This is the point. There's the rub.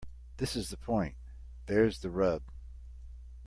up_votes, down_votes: 2, 0